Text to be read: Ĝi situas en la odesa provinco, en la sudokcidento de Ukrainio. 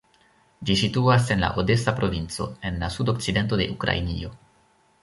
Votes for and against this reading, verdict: 2, 1, accepted